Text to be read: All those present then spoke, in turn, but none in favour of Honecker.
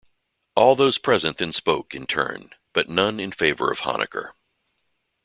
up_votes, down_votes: 2, 0